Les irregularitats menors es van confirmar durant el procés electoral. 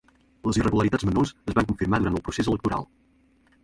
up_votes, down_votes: 0, 2